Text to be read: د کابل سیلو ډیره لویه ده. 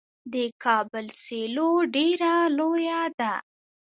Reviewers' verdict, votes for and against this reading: rejected, 0, 2